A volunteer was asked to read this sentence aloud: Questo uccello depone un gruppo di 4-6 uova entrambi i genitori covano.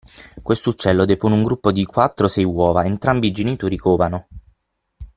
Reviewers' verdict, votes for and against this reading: rejected, 0, 2